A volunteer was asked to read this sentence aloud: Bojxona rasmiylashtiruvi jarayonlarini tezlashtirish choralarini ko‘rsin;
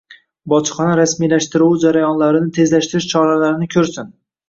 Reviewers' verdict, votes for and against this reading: accepted, 2, 0